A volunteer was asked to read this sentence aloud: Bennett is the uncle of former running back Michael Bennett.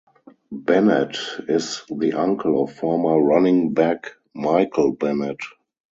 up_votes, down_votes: 2, 0